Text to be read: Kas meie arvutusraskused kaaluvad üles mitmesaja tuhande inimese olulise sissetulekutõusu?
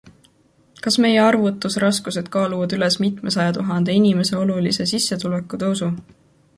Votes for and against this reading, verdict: 2, 0, accepted